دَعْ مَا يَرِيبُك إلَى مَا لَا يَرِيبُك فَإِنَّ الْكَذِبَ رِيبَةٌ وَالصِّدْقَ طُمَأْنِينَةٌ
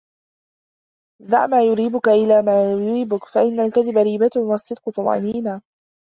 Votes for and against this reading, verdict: 1, 2, rejected